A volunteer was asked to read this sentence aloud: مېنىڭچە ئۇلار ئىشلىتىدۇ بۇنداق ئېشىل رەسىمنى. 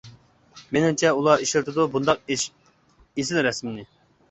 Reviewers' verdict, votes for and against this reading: rejected, 0, 2